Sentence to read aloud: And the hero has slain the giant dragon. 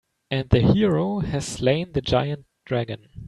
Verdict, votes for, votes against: accepted, 3, 0